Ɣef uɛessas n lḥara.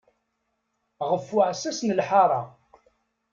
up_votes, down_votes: 2, 0